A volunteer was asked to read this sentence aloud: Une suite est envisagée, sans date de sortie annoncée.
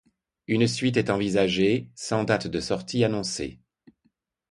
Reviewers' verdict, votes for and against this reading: accepted, 2, 0